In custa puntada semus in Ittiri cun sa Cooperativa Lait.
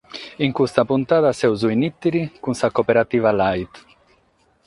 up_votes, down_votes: 6, 0